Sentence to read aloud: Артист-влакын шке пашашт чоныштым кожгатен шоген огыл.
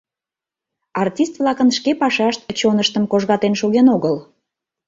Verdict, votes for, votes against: accepted, 2, 0